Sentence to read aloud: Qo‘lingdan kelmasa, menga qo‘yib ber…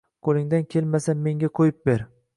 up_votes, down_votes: 0, 2